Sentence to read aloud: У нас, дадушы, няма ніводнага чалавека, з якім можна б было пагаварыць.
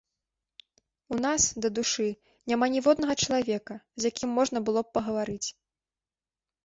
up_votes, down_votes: 2, 0